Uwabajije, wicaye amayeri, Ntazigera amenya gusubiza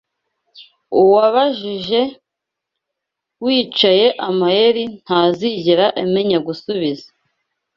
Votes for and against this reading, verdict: 2, 0, accepted